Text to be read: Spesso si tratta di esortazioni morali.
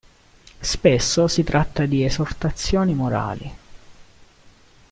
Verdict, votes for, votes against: accepted, 2, 0